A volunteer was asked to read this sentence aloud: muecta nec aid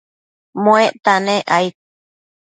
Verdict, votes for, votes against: accepted, 2, 0